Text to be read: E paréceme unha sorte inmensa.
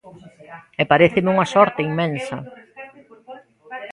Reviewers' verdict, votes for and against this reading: accepted, 2, 0